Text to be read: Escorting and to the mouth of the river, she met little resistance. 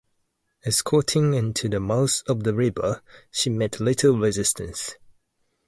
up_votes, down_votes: 0, 2